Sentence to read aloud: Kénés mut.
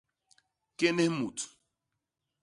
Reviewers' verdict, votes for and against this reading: accepted, 2, 0